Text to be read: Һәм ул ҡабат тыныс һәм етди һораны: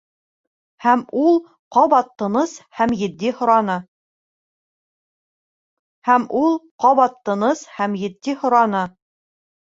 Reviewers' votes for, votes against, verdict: 0, 2, rejected